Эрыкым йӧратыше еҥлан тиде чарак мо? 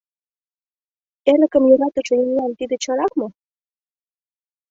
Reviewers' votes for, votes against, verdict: 2, 0, accepted